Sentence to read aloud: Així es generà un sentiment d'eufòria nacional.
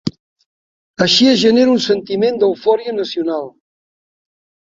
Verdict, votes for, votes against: rejected, 0, 2